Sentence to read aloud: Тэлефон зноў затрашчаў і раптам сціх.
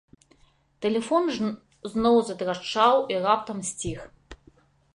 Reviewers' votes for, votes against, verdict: 0, 3, rejected